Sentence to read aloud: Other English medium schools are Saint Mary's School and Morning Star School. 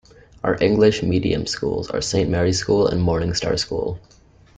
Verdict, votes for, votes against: rejected, 0, 2